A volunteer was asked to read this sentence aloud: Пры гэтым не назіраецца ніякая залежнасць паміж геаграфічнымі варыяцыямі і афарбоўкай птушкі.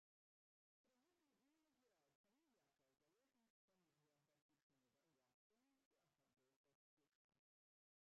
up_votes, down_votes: 0, 2